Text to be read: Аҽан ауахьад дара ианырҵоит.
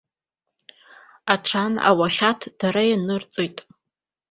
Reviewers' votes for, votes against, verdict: 2, 0, accepted